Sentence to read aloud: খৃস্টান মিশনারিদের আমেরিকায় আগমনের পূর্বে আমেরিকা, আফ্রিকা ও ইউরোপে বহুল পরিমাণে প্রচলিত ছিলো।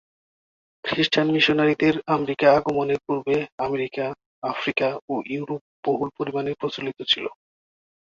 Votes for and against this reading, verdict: 1, 2, rejected